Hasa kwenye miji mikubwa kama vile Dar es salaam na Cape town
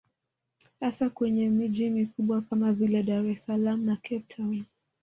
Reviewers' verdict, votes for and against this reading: rejected, 1, 3